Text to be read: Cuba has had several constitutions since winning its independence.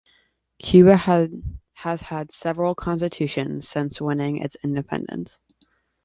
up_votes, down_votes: 1, 2